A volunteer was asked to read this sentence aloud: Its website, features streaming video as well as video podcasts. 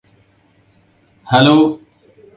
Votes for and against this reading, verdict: 0, 2, rejected